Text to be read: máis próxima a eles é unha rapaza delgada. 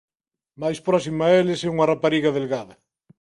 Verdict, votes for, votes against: rejected, 0, 2